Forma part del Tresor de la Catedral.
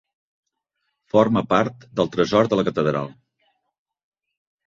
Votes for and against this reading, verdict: 3, 0, accepted